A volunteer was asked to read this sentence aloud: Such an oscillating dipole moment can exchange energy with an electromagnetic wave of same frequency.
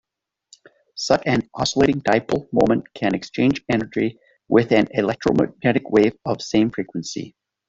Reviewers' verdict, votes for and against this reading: rejected, 1, 2